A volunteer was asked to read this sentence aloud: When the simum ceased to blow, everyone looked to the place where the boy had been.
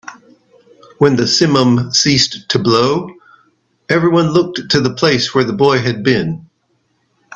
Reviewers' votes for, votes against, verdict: 4, 1, accepted